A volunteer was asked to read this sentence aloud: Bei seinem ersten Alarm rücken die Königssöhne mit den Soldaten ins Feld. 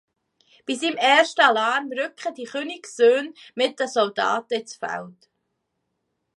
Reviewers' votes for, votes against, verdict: 1, 2, rejected